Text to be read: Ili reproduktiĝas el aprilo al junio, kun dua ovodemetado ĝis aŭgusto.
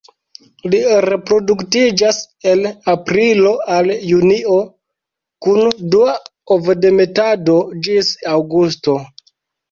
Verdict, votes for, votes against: rejected, 1, 2